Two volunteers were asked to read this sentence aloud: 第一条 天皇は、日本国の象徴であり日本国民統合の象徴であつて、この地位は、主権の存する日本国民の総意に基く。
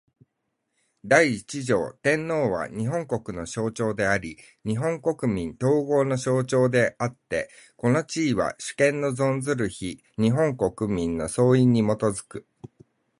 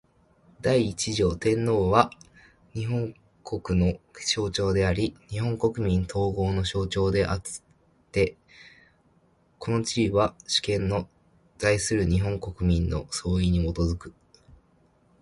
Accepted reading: second